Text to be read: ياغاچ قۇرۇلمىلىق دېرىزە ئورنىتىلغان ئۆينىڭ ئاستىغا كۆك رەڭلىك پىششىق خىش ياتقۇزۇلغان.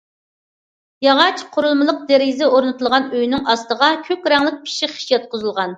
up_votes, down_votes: 2, 0